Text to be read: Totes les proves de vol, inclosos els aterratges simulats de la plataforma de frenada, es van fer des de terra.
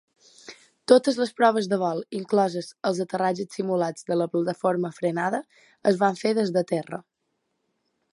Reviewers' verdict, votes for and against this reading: accepted, 2, 0